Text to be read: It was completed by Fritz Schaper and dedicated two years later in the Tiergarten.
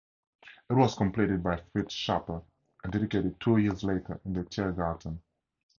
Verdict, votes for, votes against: accepted, 2, 0